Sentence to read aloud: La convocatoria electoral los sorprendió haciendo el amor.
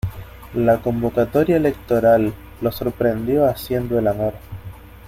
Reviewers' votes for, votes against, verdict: 2, 0, accepted